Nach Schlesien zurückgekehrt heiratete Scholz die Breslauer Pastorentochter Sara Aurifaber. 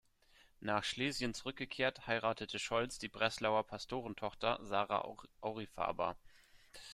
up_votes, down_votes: 0, 2